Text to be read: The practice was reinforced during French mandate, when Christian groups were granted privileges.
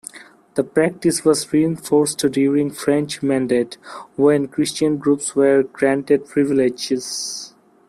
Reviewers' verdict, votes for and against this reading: accepted, 2, 1